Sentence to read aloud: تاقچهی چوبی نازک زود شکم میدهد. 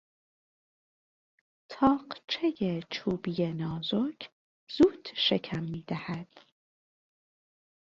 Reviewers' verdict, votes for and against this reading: accepted, 3, 0